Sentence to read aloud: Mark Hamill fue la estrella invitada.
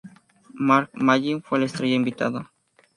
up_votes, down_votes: 0, 2